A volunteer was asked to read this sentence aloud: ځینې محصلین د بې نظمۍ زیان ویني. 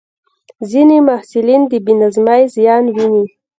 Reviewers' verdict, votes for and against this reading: rejected, 1, 2